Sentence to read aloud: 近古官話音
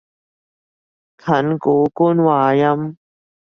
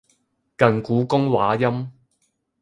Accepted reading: first